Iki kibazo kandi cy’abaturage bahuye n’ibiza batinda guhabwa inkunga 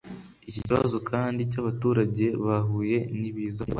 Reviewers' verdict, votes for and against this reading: rejected, 1, 2